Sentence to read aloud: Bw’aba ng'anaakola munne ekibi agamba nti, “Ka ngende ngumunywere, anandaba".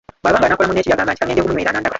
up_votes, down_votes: 0, 2